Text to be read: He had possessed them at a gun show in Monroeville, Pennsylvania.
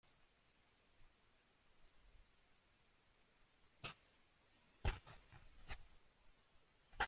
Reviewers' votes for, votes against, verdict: 0, 2, rejected